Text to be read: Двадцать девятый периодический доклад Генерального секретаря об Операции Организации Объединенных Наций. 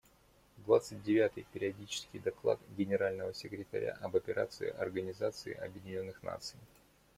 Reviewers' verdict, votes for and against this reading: accepted, 2, 1